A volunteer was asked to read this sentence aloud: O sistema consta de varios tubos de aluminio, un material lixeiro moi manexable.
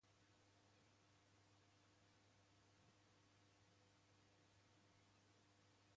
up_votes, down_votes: 0, 2